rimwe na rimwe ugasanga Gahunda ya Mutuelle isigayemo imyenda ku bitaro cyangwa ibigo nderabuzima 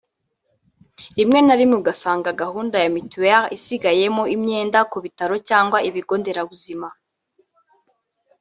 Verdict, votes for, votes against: rejected, 1, 2